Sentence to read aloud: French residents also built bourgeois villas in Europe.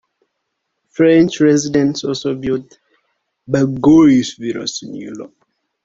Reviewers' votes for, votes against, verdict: 1, 2, rejected